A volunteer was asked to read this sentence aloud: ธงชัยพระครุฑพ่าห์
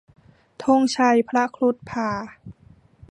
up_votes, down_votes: 0, 2